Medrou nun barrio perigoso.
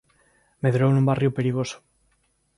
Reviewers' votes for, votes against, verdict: 2, 0, accepted